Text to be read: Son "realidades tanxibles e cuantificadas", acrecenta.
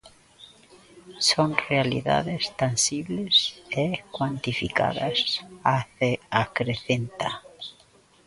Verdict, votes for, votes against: rejected, 0, 2